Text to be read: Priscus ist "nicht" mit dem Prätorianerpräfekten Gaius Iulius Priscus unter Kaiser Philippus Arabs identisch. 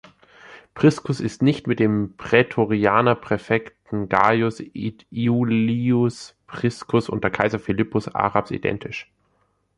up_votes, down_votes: 1, 2